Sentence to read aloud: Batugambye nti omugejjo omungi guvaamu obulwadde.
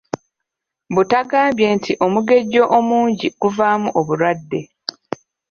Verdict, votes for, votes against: rejected, 1, 2